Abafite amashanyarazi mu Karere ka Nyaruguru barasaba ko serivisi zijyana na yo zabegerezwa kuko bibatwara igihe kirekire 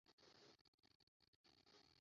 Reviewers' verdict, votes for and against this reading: rejected, 0, 2